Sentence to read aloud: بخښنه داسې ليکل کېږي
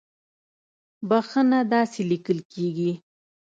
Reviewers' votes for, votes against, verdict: 2, 0, accepted